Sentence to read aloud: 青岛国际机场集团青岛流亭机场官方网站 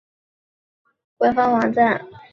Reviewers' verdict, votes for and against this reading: rejected, 0, 4